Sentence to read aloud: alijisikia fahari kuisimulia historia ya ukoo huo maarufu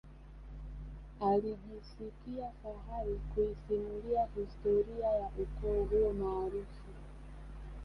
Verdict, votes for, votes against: rejected, 1, 2